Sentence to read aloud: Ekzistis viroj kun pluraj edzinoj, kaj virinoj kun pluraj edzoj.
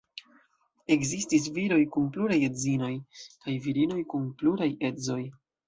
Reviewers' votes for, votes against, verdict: 2, 0, accepted